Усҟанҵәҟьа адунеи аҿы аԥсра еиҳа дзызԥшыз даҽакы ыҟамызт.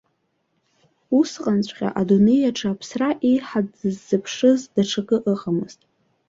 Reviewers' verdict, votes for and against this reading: rejected, 1, 2